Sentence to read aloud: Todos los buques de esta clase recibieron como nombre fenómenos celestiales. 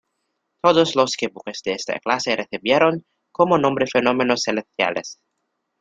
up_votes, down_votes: 0, 2